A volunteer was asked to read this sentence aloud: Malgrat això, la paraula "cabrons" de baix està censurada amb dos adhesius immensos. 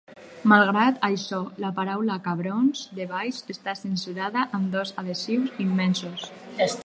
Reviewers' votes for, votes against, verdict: 2, 2, rejected